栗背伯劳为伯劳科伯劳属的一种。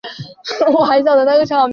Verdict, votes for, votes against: rejected, 0, 2